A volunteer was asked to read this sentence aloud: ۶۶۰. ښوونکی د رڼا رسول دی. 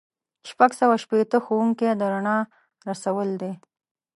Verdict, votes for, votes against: rejected, 0, 2